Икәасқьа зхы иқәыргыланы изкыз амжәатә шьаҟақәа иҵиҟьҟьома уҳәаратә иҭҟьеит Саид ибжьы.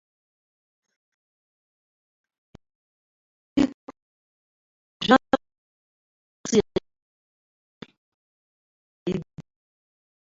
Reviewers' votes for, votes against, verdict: 0, 2, rejected